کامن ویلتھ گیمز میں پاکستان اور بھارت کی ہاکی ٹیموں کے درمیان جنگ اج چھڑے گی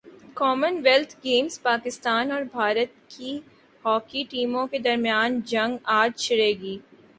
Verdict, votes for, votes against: accepted, 3, 0